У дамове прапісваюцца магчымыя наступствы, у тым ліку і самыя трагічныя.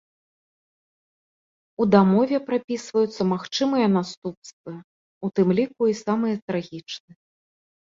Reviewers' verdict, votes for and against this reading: accepted, 2, 0